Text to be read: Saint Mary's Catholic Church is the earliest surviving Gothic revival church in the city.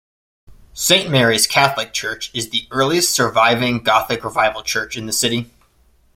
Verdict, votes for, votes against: accepted, 2, 0